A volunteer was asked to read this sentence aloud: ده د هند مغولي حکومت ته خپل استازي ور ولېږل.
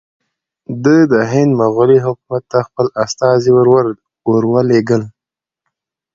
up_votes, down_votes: 2, 0